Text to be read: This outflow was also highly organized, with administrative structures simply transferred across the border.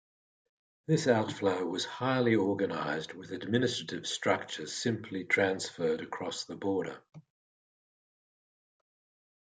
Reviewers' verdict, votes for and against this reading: rejected, 1, 2